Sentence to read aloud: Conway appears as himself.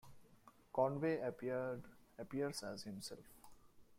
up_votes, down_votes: 0, 2